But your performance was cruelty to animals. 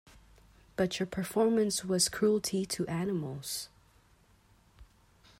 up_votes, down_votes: 2, 0